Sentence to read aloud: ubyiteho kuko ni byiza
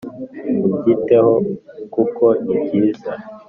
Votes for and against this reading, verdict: 4, 0, accepted